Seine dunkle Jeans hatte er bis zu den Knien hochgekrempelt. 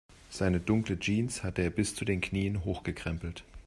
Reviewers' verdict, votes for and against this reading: accepted, 2, 0